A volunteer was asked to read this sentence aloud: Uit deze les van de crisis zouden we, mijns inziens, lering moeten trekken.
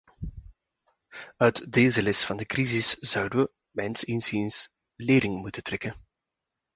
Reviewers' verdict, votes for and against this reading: accepted, 2, 0